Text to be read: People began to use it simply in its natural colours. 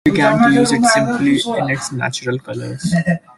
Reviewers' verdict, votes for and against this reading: rejected, 0, 2